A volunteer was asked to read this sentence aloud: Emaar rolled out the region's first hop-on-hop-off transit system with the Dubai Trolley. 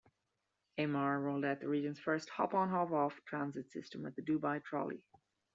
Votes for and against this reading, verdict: 1, 2, rejected